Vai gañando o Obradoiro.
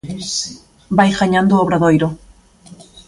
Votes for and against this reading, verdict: 2, 0, accepted